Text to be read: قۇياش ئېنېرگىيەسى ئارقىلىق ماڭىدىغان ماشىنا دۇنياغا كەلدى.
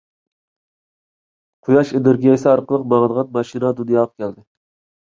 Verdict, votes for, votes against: rejected, 1, 2